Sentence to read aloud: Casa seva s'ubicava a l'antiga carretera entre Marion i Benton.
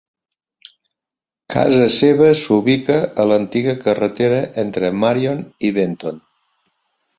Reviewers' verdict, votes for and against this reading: rejected, 0, 2